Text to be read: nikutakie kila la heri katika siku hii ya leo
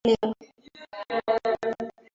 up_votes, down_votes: 0, 3